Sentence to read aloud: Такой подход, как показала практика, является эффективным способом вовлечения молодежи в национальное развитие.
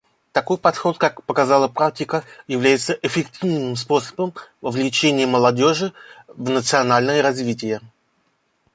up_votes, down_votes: 2, 1